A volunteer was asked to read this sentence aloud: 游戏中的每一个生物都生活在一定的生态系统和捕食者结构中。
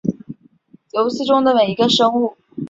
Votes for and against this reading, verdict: 0, 2, rejected